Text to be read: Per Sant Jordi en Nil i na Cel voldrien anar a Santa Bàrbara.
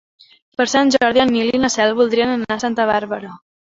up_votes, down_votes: 0, 2